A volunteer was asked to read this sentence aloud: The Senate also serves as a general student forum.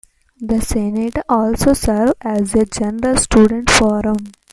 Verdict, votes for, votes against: rejected, 1, 2